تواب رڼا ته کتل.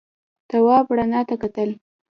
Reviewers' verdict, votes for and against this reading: rejected, 0, 2